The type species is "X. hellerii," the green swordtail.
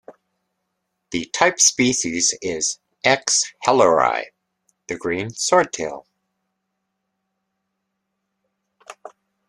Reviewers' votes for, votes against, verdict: 2, 0, accepted